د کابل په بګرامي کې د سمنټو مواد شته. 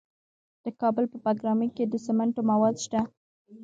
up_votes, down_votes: 0, 2